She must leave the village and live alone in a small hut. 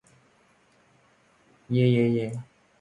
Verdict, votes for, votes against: rejected, 0, 2